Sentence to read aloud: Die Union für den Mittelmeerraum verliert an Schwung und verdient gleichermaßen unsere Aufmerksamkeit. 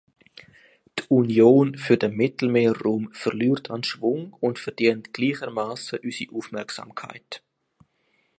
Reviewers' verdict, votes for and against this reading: accepted, 3, 0